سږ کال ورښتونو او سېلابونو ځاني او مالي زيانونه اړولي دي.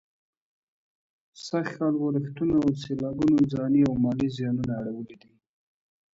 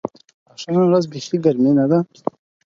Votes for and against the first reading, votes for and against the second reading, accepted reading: 2, 0, 0, 4, first